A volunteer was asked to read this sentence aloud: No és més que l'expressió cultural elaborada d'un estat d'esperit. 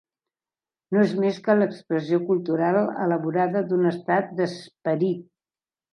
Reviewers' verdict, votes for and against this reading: rejected, 0, 2